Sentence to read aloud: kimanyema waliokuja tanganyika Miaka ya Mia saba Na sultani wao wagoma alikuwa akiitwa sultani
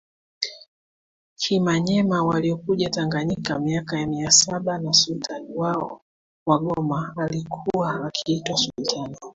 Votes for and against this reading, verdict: 2, 1, accepted